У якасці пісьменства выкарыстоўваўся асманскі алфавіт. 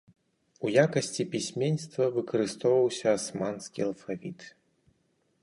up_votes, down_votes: 4, 0